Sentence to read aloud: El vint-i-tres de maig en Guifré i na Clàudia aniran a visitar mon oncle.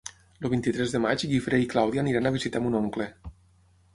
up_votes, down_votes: 3, 6